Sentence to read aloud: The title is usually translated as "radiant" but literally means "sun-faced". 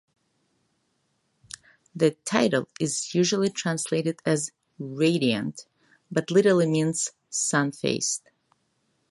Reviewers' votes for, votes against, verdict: 2, 0, accepted